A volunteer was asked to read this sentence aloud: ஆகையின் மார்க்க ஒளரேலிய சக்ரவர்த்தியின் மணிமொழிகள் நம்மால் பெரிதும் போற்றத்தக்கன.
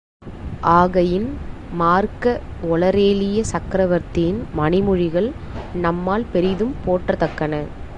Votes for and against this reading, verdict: 0, 2, rejected